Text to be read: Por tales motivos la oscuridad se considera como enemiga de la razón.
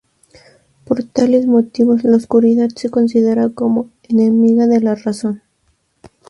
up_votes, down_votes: 6, 0